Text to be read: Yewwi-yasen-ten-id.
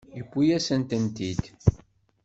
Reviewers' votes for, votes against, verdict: 1, 2, rejected